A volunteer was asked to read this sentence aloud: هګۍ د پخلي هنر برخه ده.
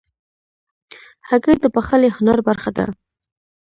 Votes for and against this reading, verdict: 1, 2, rejected